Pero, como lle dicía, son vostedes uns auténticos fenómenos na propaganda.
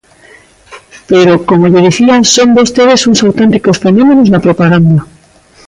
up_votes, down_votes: 1, 2